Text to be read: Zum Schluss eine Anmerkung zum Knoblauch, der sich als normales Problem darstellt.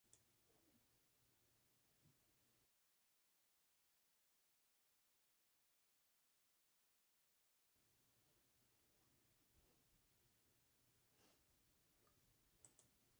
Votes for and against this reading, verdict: 0, 2, rejected